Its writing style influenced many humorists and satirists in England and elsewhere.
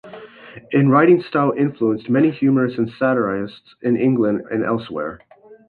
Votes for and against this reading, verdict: 0, 2, rejected